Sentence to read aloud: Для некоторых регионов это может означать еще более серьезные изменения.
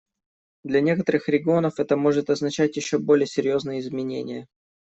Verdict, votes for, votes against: accepted, 2, 0